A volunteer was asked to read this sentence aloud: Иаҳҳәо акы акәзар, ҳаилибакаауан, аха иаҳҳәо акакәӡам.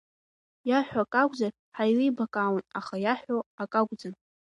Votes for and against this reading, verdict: 2, 0, accepted